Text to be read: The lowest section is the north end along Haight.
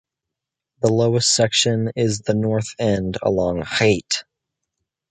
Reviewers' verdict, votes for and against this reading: rejected, 1, 2